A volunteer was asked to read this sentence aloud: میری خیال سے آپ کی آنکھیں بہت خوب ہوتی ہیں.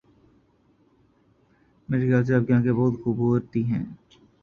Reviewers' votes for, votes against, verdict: 0, 2, rejected